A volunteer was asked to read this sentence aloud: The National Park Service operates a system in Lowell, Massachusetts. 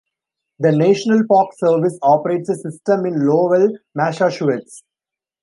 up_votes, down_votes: 0, 2